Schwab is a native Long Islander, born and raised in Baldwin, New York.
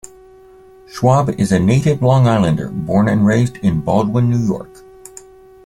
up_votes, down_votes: 2, 0